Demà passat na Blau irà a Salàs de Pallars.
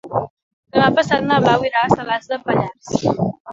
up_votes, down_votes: 2, 1